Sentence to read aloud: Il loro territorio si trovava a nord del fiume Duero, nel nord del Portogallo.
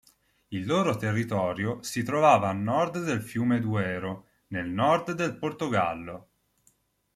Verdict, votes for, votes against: accepted, 2, 0